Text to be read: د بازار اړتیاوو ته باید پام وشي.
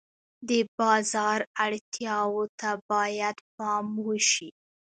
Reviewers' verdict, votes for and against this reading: rejected, 1, 2